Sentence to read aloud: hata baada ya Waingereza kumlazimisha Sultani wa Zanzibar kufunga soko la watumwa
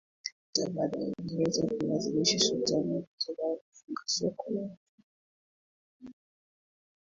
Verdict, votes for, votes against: rejected, 0, 2